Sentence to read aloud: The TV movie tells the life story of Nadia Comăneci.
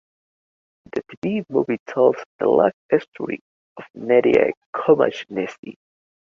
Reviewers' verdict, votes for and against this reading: rejected, 0, 2